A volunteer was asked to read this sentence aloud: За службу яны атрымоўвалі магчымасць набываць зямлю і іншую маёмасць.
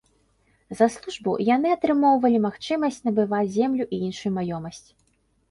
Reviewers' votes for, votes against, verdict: 0, 2, rejected